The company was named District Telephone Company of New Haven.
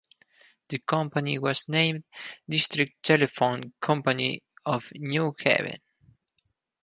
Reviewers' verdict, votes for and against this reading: accepted, 4, 2